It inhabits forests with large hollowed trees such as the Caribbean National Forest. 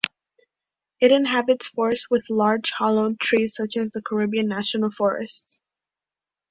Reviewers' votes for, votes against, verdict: 0, 2, rejected